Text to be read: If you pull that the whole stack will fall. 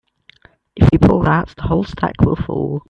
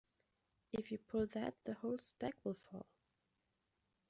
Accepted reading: second